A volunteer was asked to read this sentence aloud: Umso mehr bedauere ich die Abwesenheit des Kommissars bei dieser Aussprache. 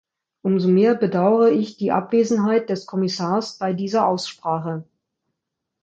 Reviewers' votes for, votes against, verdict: 2, 0, accepted